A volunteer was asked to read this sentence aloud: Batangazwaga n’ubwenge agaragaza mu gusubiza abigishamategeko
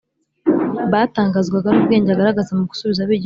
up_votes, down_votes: 0, 3